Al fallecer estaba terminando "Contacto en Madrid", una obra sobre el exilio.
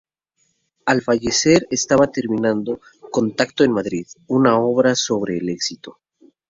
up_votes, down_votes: 2, 2